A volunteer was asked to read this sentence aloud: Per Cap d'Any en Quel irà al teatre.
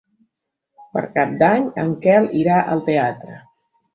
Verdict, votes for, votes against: accepted, 3, 0